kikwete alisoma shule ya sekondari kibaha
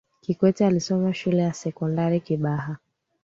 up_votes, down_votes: 2, 0